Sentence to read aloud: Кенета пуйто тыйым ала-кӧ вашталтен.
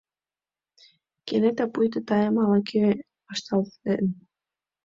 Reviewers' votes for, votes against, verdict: 1, 2, rejected